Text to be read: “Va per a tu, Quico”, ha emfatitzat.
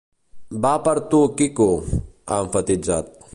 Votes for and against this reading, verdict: 1, 2, rejected